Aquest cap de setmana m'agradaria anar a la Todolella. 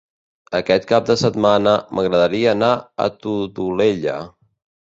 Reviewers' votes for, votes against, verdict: 0, 2, rejected